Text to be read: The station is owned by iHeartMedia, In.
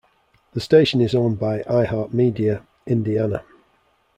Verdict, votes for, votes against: rejected, 1, 2